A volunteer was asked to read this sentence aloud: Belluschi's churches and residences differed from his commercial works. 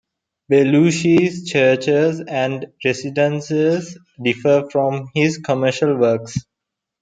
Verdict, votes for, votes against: accepted, 2, 0